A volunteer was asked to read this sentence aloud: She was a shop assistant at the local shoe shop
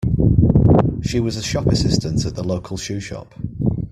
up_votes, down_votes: 1, 2